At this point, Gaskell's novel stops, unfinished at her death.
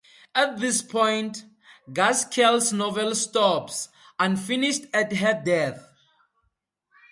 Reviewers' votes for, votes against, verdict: 2, 0, accepted